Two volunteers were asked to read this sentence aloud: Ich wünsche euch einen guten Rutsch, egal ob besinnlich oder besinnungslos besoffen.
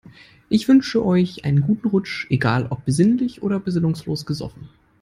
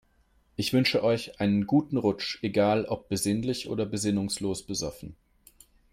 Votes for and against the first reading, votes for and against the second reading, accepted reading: 0, 2, 3, 0, second